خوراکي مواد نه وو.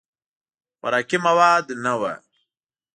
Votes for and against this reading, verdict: 2, 0, accepted